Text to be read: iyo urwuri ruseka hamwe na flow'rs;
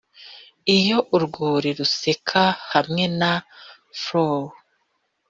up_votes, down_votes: 2, 0